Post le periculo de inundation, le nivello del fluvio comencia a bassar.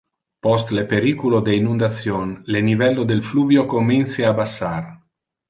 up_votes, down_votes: 1, 2